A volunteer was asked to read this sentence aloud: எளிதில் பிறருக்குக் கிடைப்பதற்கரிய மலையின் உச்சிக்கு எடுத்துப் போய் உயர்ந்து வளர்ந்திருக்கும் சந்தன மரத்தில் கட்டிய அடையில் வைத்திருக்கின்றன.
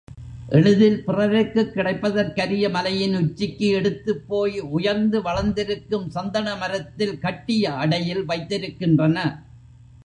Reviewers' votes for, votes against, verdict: 2, 0, accepted